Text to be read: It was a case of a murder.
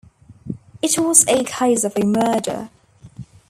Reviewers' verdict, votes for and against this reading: accepted, 2, 0